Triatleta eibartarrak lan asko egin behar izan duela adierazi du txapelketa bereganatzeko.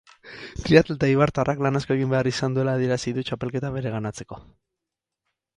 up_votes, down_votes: 4, 0